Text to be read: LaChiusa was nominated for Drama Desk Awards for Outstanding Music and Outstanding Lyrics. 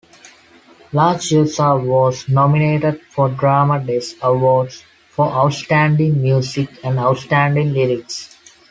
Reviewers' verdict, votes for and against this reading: accepted, 2, 0